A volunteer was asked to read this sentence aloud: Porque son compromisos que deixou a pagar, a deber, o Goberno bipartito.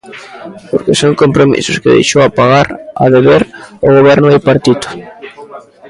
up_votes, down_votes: 3, 0